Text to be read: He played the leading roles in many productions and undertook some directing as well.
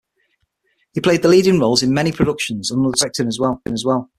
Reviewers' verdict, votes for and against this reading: rejected, 3, 6